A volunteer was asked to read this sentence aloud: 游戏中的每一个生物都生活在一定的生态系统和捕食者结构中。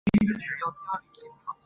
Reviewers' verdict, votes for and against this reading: rejected, 2, 5